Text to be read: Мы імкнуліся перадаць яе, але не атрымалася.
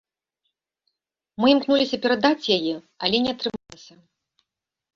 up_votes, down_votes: 0, 2